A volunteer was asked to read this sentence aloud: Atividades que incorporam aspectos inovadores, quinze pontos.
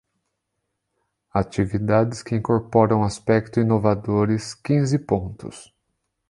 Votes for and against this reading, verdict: 1, 2, rejected